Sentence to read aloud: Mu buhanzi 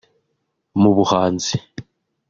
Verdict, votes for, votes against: accepted, 2, 0